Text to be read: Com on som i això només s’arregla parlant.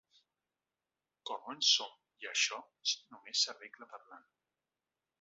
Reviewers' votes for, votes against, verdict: 1, 2, rejected